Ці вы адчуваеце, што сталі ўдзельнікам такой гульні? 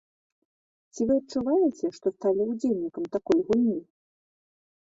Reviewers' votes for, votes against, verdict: 2, 0, accepted